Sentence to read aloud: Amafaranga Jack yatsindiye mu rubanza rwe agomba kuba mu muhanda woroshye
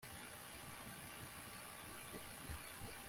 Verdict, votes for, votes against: rejected, 0, 2